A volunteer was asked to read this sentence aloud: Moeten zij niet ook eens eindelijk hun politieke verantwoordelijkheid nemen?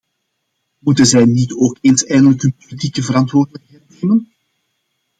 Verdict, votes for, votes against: accepted, 2, 1